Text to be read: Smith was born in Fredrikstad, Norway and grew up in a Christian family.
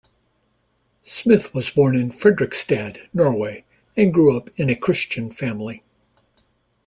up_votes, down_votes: 2, 0